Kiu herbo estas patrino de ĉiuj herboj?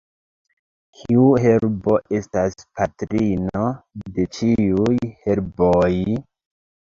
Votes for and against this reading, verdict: 2, 1, accepted